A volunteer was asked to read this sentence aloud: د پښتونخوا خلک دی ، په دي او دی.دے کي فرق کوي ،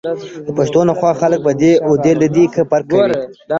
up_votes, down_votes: 1, 2